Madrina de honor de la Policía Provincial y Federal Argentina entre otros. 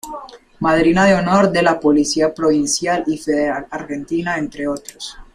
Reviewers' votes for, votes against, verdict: 2, 0, accepted